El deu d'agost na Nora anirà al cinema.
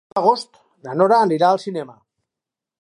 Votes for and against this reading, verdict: 0, 2, rejected